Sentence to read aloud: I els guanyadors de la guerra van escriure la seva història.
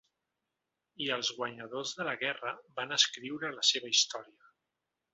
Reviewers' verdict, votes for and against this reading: accepted, 3, 1